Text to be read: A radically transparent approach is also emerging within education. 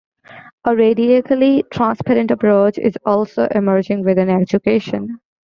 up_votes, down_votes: 2, 1